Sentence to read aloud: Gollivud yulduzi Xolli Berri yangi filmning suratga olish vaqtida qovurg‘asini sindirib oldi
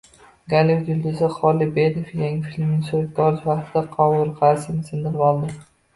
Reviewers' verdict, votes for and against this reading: rejected, 0, 2